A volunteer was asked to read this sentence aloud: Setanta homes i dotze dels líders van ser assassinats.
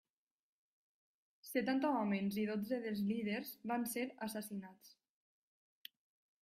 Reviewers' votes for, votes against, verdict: 3, 1, accepted